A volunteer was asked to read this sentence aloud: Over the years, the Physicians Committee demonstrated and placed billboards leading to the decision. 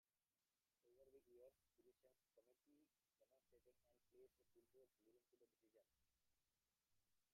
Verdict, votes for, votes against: rejected, 0, 2